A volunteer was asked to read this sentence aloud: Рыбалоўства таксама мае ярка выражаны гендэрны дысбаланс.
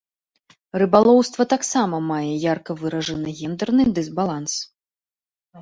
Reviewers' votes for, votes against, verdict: 2, 0, accepted